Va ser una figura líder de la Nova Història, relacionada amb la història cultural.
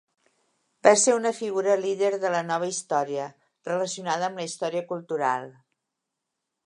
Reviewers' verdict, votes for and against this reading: accepted, 2, 0